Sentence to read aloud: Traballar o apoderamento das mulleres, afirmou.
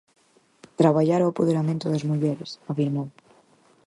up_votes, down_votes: 4, 0